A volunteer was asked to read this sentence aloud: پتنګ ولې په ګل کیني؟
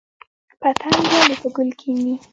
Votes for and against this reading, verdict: 0, 2, rejected